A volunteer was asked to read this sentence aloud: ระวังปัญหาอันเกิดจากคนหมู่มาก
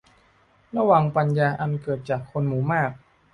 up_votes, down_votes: 0, 2